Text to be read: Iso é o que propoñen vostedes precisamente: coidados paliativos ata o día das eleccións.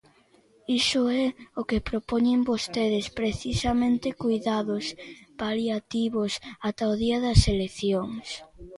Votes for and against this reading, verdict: 1, 2, rejected